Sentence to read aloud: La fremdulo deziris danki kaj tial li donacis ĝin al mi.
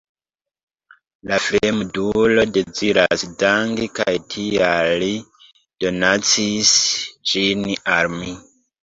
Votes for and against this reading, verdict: 0, 2, rejected